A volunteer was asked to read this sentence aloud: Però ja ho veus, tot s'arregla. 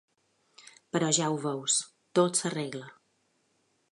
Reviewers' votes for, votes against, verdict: 2, 0, accepted